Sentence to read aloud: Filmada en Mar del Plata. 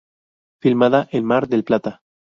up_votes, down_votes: 0, 2